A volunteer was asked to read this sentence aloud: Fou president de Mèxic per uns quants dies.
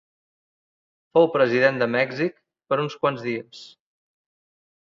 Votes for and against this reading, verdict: 2, 0, accepted